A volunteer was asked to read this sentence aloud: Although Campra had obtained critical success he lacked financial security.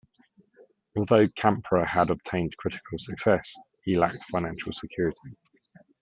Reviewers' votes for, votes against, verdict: 2, 0, accepted